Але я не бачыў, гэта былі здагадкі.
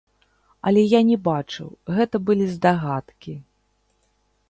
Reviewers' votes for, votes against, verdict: 0, 2, rejected